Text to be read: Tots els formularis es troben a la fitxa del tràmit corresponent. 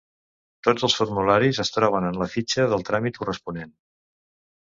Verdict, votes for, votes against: rejected, 0, 2